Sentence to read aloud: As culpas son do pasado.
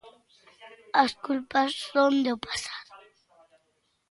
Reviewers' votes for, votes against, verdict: 0, 2, rejected